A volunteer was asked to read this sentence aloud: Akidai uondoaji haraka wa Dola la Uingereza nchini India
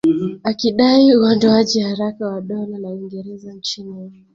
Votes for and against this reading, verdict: 2, 0, accepted